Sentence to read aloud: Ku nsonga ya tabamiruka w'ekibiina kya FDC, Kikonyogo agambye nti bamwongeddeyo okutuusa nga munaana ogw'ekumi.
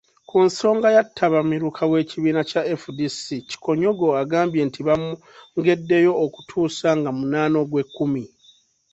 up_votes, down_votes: 2, 1